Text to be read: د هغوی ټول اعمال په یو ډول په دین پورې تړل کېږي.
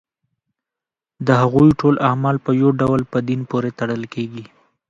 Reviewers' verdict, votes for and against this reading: rejected, 0, 2